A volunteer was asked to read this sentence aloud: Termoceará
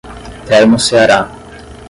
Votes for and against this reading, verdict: 5, 0, accepted